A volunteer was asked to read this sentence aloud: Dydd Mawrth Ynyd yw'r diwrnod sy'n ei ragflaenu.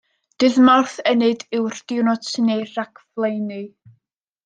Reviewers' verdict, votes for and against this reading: accepted, 2, 0